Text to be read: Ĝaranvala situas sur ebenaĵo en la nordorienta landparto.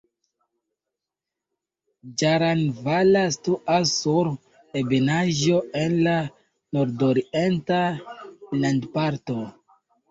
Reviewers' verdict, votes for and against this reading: accepted, 2, 1